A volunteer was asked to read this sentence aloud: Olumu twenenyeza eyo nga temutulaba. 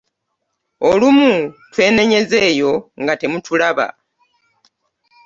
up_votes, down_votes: 2, 0